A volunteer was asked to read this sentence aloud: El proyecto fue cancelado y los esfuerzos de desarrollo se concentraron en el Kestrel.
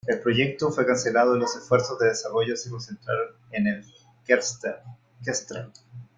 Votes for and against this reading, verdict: 1, 2, rejected